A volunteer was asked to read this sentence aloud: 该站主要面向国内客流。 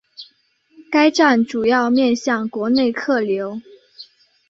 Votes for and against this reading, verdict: 2, 0, accepted